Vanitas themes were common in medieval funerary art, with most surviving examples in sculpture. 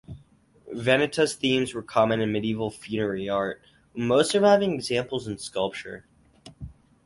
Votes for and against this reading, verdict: 4, 0, accepted